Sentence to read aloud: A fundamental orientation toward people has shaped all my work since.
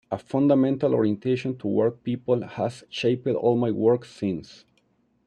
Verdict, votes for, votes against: rejected, 1, 2